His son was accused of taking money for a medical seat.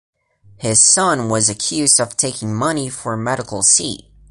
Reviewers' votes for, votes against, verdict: 1, 2, rejected